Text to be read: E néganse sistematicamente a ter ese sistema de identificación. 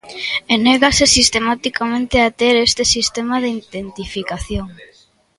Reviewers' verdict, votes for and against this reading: rejected, 0, 2